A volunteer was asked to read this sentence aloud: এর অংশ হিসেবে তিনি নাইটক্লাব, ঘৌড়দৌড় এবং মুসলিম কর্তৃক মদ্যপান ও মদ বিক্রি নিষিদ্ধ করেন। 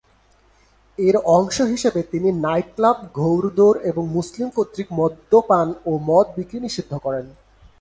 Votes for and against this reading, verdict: 2, 0, accepted